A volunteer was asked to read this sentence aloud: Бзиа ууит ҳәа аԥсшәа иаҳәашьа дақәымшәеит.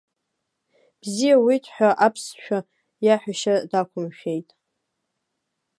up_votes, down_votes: 2, 0